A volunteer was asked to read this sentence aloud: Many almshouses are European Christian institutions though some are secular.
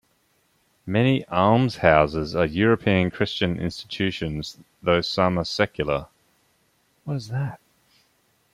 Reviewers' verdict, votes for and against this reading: rejected, 0, 2